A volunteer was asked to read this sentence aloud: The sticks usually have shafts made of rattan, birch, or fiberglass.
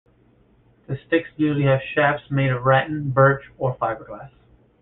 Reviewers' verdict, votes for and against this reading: rejected, 1, 2